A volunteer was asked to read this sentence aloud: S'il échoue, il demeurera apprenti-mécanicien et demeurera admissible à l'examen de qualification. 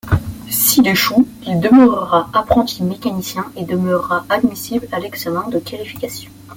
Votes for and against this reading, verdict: 2, 1, accepted